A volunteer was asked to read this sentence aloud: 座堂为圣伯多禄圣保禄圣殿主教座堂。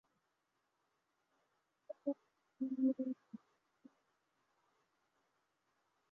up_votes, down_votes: 0, 2